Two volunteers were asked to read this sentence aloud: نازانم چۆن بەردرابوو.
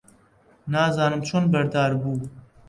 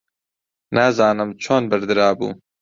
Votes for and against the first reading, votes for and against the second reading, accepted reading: 0, 2, 2, 0, second